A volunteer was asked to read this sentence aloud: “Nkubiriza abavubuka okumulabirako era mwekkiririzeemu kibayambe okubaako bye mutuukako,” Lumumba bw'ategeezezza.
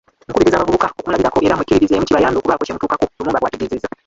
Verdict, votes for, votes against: rejected, 0, 2